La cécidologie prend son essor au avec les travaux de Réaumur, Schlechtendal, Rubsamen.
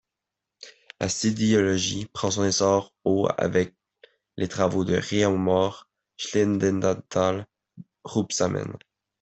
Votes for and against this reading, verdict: 1, 2, rejected